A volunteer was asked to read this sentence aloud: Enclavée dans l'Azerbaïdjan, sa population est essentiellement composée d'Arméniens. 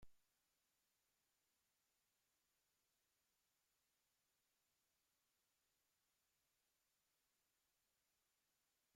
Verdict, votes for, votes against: rejected, 0, 2